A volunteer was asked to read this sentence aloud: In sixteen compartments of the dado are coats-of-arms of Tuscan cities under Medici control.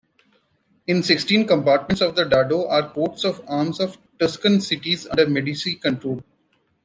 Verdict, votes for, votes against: accepted, 2, 1